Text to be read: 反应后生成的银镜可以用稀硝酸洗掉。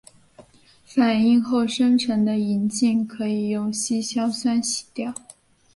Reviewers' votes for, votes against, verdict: 2, 0, accepted